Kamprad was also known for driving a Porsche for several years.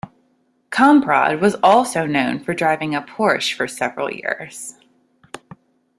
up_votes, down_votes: 2, 0